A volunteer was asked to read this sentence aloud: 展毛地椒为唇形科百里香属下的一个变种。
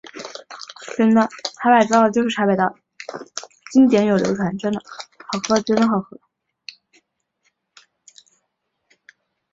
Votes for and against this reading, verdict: 0, 2, rejected